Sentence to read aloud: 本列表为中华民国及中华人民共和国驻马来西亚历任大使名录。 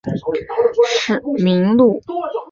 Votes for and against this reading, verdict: 0, 4, rejected